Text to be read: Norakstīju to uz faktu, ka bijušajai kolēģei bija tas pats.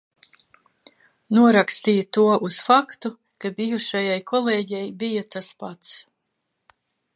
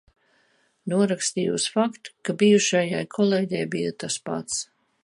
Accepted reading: first